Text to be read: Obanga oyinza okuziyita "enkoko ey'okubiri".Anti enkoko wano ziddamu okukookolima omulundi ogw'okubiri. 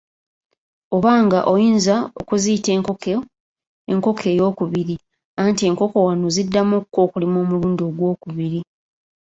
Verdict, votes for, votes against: accepted, 3, 2